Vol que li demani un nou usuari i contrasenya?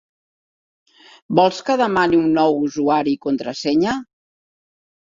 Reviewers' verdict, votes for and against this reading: rejected, 0, 2